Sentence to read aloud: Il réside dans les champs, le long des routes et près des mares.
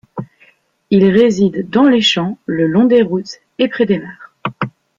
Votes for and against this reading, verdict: 2, 0, accepted